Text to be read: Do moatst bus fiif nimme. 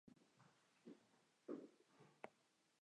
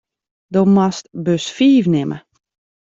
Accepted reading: second